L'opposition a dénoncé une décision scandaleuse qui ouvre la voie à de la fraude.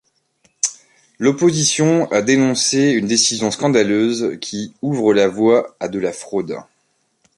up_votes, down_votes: 2, 0